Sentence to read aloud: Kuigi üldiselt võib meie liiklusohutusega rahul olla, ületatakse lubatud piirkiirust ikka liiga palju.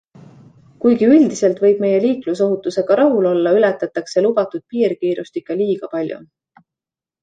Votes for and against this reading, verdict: 2, 0, accepted